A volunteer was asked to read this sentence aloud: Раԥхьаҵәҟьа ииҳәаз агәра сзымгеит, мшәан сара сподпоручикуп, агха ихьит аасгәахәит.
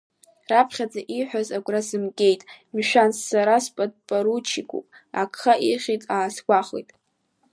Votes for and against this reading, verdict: 2, 0, accepted